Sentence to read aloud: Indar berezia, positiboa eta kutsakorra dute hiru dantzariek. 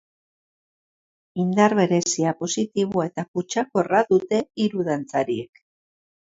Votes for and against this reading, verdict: 2, 0, accepted